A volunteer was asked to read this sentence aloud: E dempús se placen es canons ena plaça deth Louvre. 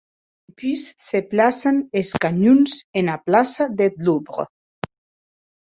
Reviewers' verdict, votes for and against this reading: rejected, 2, 8